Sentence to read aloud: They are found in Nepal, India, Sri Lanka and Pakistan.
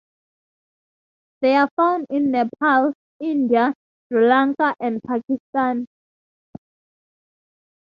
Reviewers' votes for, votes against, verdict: 2, 0, accepted